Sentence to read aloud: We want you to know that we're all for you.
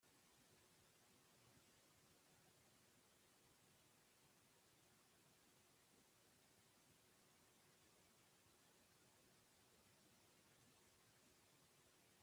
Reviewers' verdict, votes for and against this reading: rejected, 0, 4